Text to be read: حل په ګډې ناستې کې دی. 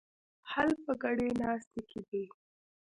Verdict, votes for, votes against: rejected, 1, 2